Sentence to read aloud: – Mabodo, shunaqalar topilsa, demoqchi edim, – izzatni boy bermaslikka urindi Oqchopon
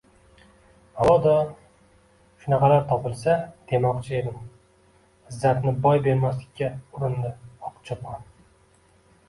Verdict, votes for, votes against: rejected, 1, 2